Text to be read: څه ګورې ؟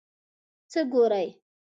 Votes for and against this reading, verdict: 1, 2, rejected